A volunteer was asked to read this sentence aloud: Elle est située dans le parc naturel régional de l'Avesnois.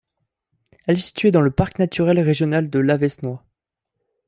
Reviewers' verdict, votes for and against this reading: rejected, 0, 2